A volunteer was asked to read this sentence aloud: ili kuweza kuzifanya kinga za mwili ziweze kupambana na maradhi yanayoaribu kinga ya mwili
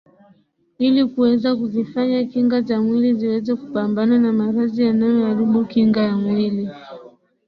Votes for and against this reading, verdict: 2, 0, accepted